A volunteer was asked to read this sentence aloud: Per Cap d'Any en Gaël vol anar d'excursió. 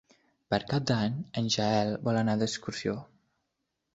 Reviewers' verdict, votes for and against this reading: rejected, 0, 2